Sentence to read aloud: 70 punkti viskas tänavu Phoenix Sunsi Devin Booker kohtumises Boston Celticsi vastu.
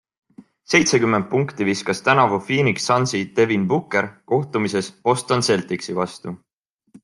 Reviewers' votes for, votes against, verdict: 0, 2, rejected